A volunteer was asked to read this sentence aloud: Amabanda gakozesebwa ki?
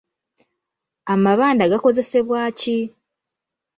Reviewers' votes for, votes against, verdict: 2, 0, accepted